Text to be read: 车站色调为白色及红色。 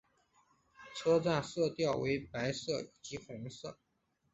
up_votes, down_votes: 2, 0